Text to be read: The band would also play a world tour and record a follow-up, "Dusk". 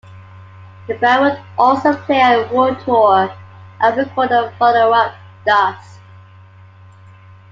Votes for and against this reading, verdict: 1, 2, rejected